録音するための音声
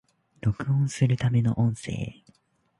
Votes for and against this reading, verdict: 2, 1, accepted